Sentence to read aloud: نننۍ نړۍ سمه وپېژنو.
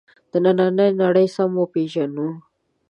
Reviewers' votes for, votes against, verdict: 2, 3, rejected